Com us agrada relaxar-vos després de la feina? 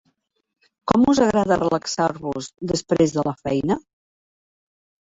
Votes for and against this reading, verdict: 3, 0, accepted